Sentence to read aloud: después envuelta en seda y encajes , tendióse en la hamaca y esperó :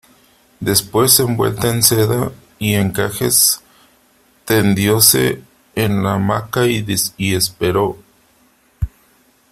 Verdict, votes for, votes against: accepted, 2, 1